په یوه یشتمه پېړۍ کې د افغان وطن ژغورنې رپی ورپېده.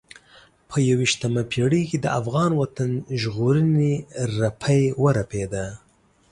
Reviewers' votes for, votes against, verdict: 2, 0, accepted